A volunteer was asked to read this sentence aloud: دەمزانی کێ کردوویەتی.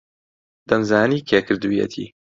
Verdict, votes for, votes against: accepted, 2, 0